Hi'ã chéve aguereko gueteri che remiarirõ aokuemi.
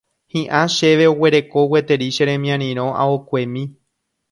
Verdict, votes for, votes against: rejected, 0, 2